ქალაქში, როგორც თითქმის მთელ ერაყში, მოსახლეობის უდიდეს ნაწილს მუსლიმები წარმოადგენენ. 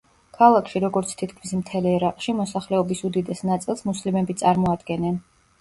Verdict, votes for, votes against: accepted, 2, 0